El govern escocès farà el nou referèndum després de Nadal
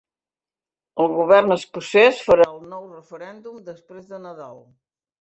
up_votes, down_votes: 2, 0